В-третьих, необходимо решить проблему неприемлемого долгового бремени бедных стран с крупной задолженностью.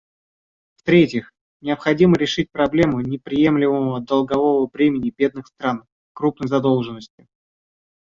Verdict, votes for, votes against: rejected, 0, 2